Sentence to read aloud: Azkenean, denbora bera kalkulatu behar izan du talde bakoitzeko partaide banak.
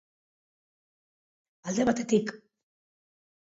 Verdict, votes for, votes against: rejected, 0, 2